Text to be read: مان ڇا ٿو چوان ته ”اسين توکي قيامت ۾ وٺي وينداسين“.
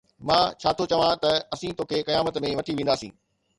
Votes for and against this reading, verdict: 2, 0, accepted